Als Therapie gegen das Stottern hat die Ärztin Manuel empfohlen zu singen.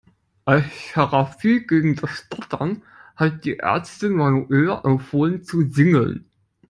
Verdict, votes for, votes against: rejected, 0, 2